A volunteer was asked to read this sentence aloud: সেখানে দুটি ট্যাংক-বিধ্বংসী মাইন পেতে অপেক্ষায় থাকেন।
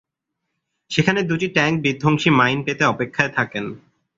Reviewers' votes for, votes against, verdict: 16, 0, accepted